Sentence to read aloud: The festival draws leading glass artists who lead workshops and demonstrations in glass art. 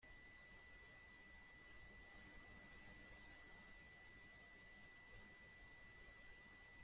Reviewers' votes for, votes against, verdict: 0, 2, rejected